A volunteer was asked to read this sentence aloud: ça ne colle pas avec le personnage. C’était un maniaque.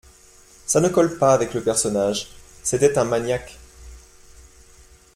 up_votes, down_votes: 2, 0